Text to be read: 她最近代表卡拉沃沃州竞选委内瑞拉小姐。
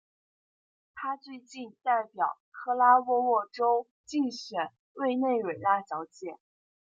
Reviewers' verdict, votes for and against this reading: rejected, 0, 2